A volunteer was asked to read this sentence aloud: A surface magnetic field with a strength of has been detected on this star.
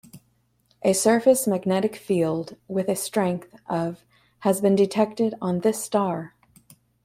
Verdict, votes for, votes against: accepted, 2, 1